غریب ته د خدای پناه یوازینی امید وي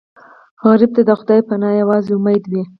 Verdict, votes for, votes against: rejected, 2, 2